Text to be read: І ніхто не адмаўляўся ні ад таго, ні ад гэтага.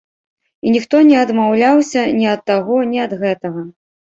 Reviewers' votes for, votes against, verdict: 2, 0, accepted